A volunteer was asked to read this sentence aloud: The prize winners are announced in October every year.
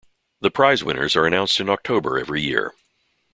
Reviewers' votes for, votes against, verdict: 2, 0, accepted